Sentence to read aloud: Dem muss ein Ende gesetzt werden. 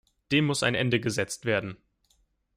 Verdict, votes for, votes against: accepted, 2, 0